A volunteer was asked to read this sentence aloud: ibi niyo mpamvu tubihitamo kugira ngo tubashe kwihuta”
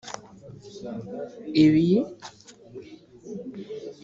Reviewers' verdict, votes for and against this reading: rejected, 0, 3